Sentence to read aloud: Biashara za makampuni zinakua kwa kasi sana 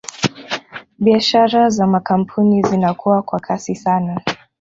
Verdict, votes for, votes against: rejected, 1, 2